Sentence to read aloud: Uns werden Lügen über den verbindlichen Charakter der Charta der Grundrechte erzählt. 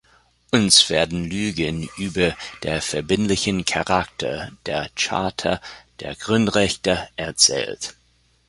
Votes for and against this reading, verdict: 0, 2, rejected